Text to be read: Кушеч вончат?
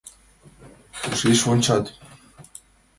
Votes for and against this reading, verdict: 2, 1, accepted